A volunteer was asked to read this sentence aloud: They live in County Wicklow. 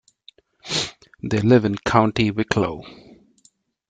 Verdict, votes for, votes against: accepted, 2, 1